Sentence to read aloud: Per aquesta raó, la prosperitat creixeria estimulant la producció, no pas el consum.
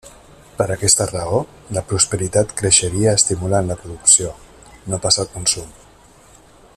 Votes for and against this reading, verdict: 2, 0, accepted